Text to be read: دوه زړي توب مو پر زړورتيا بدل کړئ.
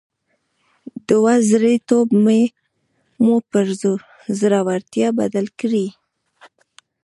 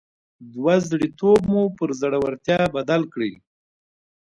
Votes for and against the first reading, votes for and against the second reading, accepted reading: 2, 1, 1, 2, first